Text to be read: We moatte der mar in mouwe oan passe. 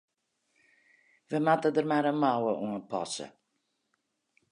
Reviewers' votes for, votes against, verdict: 2, 2, rejected